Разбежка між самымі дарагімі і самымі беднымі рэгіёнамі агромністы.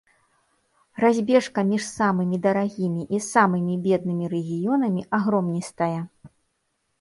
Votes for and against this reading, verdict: 1, 2, rejected